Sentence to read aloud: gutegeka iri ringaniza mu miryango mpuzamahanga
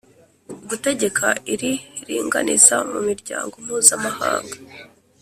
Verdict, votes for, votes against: accepted, 2, 0